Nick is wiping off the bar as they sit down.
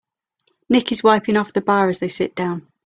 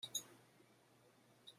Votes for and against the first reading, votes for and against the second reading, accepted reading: 3, 0, 0, 2, first